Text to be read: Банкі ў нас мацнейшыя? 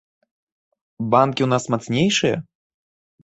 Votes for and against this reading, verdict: 3, 0, accepted